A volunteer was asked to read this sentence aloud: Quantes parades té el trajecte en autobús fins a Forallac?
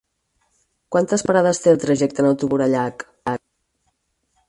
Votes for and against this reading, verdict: 0, 4, rejected